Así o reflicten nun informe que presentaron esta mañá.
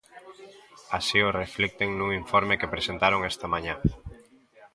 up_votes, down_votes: 2, 0